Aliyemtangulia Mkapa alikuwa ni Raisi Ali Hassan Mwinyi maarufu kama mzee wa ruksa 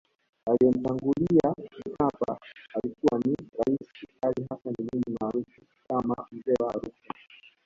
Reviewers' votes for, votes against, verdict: 0, 2, rejected